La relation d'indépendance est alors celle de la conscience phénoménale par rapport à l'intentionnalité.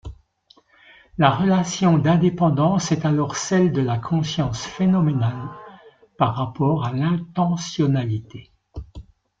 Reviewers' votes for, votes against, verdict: 2, 0, accepted